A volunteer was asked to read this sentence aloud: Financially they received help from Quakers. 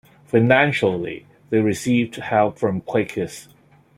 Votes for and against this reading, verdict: 2, 0, accepted